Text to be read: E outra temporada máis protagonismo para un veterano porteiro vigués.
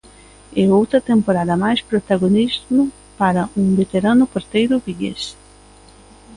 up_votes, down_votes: 2, 0